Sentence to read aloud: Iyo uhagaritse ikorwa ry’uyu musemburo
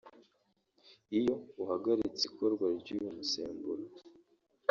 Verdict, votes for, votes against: accepted, 2, 0